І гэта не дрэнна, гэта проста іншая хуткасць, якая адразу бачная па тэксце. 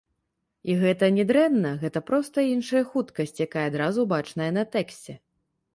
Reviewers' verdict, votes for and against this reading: rejected, 1, 2